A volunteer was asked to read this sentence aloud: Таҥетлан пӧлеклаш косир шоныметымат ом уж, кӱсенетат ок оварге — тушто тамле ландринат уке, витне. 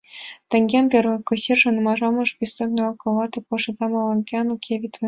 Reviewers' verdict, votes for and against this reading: rejected, 0, 3